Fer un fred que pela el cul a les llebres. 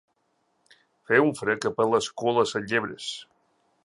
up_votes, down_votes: 1, 2